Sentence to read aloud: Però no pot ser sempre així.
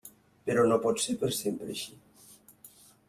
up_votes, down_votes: 1, 2